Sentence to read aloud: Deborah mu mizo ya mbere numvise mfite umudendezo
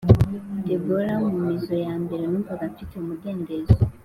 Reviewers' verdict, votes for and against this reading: accepted, 2, 0